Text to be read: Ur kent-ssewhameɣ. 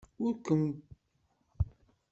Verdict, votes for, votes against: rejected, 1, 2